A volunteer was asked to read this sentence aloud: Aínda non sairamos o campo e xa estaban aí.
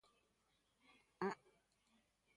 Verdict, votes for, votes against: rejected, 0, 2